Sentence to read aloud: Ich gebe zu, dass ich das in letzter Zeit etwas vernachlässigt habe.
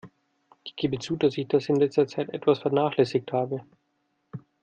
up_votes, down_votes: 2, 0